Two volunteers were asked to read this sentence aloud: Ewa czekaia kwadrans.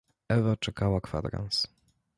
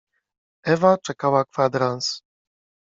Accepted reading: second